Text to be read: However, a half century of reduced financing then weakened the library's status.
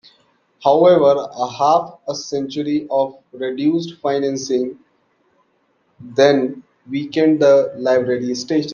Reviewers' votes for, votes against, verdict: 0, 2, rejected